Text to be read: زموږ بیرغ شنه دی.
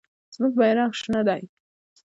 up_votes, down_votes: 1, 2